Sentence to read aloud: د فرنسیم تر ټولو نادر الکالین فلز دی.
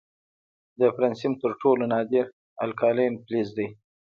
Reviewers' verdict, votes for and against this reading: rejected, 0, 2